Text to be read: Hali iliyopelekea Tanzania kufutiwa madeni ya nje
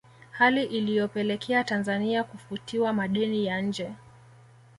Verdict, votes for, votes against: accepted, 2, 0